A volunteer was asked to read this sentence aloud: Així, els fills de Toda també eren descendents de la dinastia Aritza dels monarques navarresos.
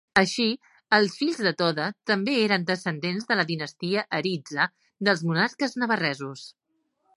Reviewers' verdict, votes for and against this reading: rejected, 0, 2